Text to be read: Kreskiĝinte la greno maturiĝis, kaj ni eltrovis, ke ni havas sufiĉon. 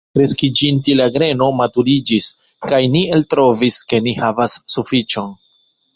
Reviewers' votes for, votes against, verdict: 1, 2, rejected